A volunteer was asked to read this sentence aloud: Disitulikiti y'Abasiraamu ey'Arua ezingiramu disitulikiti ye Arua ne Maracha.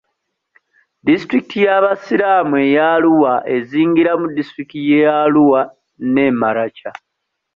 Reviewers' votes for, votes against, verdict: 2, 1, accepted